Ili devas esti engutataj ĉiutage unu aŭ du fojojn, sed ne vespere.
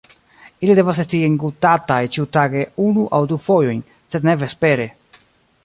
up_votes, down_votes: 2, 3